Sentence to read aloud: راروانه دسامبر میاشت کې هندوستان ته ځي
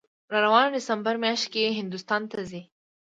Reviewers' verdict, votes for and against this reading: accepted, 2, 0